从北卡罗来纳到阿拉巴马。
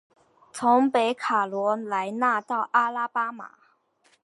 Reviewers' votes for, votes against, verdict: 3, 0, accepted